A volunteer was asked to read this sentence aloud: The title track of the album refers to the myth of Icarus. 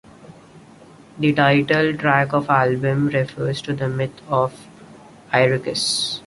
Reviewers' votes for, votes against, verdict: 0, 2, rejected